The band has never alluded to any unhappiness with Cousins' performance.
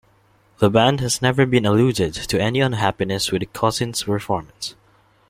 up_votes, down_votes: 2, 3